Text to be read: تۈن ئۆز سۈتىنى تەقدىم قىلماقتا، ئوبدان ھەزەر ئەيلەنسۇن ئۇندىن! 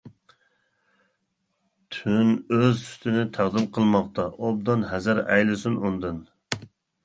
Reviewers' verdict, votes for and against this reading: rejected, 0, 2